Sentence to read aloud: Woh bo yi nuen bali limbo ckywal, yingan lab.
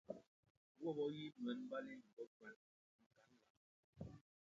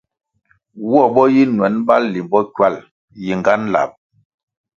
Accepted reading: second